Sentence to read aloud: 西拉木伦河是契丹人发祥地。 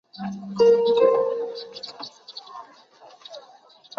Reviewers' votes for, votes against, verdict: 1, 3, rejected